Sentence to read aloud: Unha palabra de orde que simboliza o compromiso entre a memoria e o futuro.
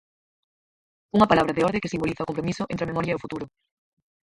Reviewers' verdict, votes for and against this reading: rejected, 2, 4